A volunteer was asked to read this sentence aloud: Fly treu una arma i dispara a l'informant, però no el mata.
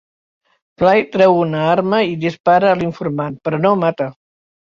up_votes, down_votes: 1, 2